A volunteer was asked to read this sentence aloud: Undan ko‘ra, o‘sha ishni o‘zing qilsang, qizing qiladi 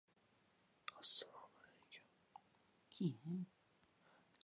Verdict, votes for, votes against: rejected, 0, 2